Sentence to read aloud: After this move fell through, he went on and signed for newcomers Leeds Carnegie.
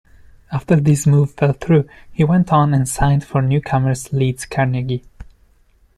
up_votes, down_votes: 2, 0